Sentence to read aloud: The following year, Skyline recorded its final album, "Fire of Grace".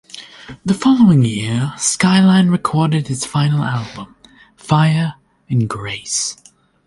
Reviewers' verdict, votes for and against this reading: rejected, 0, 2